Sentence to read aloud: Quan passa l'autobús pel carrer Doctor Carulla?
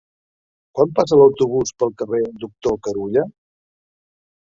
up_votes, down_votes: 1, 2